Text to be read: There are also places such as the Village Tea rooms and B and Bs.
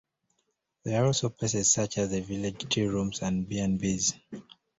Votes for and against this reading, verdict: 2, 0, accepted